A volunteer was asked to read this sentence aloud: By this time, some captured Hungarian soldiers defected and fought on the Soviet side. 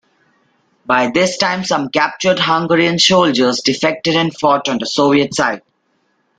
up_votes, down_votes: 3, 0